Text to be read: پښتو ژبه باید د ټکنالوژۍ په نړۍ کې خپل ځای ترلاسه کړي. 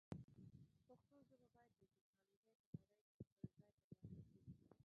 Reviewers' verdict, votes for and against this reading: rejected, 0, 2